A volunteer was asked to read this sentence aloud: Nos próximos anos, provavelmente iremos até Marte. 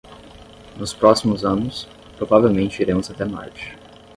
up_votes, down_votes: 5, 0